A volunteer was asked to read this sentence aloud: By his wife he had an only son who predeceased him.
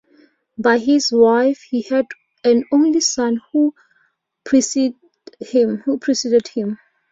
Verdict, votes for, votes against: rejected, 0, 2